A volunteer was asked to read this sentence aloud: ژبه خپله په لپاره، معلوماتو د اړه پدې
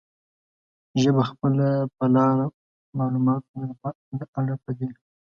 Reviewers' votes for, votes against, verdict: 0, 2, rejected